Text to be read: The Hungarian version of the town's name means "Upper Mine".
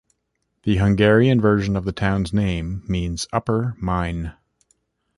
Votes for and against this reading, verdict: 2, 0, accepted